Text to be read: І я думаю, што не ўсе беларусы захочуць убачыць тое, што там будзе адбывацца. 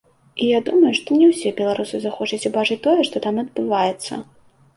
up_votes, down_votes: 1, 2